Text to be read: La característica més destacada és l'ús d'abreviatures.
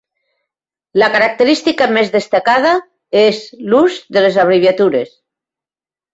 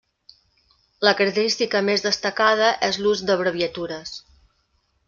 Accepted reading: second